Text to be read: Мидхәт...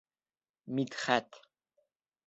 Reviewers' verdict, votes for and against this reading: accepted, 4, 0